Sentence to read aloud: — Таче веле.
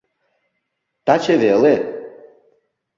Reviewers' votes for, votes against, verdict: 2, 0, accepted